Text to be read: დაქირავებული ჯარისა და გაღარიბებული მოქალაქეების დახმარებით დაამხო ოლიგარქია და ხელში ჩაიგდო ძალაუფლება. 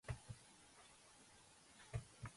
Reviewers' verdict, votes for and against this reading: rejected, 0, 2